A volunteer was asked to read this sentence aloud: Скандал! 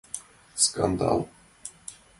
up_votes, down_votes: 2, 0